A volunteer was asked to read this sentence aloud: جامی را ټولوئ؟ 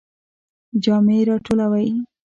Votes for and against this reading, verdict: 2, 0, accepted